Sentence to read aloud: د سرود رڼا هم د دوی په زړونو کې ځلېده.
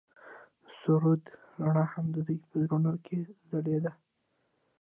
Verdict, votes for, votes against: rejected, 1, 2